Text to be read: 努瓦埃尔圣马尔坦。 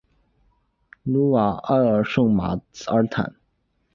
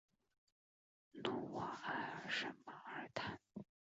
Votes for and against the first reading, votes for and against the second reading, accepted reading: 2, 0, 1, 2, first